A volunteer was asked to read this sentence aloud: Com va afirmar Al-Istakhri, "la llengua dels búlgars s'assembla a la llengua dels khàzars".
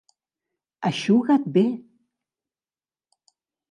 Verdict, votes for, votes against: rejected, 0, 2